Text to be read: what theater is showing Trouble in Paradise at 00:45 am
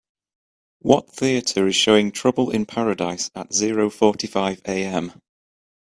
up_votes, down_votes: 0, 2